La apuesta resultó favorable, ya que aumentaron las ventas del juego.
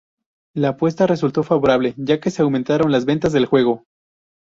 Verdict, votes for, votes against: rejected, 0, 2